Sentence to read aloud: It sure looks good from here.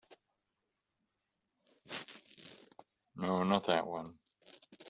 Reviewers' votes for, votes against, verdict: 0, 2, rejected